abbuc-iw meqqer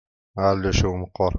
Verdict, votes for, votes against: rejected, 1, 2